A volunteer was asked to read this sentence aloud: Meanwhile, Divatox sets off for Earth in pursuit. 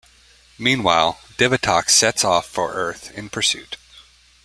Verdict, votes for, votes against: accepted, 2, 0